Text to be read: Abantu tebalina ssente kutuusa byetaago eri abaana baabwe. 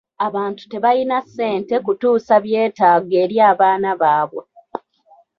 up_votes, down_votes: 1, 2